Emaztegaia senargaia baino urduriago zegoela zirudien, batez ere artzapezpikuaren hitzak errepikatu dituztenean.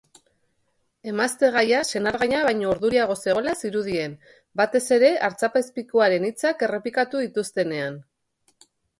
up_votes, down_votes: 3, 0